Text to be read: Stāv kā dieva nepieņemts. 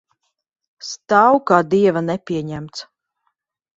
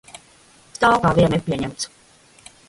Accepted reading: first